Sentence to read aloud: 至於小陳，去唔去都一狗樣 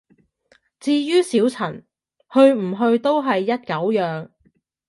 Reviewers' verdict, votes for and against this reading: rejected, 1, 2